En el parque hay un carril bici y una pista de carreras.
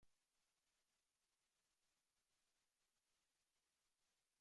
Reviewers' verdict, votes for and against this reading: rejected, 0, 2